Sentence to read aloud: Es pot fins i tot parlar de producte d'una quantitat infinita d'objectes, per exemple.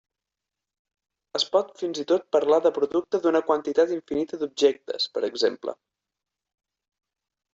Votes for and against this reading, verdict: 4, 0, accepted